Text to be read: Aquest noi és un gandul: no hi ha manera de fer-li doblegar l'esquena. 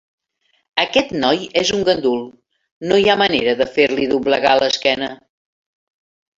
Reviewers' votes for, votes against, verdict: 3, 0, accepted